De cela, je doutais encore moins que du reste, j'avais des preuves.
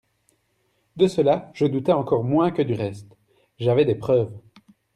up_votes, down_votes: 2, 0